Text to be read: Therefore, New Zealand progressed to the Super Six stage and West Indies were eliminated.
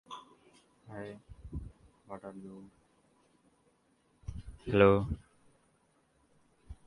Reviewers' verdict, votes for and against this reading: rejected, 0, 2